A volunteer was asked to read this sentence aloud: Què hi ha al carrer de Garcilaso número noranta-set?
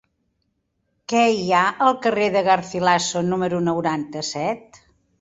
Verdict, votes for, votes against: rejected, 0, 2